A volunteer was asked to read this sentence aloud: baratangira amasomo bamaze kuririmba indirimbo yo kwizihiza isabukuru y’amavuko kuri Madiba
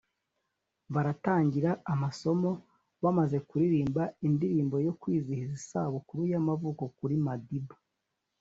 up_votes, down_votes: 2, 0